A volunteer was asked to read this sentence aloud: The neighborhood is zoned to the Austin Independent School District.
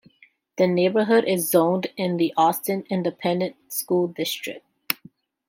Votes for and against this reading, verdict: 0, 2, rejected